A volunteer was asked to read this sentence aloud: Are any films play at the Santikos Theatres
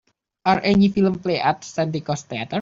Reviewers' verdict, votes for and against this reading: rejected, 0, 2